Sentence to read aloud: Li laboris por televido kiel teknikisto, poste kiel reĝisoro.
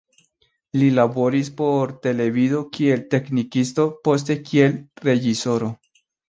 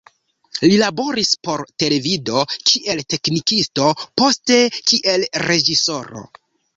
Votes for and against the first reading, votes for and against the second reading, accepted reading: 2, 0, 1, 2, first